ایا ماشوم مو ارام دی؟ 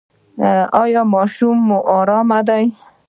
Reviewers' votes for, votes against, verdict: 0, 2, rejected